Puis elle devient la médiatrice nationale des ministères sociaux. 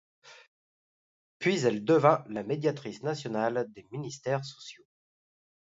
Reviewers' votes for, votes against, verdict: 2, 1, accepted